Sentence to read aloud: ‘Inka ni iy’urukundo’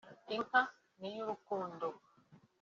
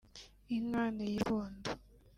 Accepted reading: first